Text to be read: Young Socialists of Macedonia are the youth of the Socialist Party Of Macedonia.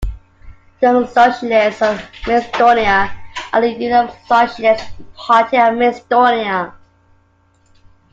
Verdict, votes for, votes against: rejected, 0, 2